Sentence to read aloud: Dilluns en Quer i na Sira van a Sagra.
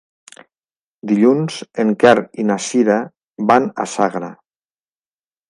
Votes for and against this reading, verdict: 2, 0, accepted